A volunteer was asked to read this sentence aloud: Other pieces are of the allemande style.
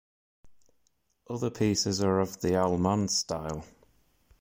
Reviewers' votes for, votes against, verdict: 2, 0, accepted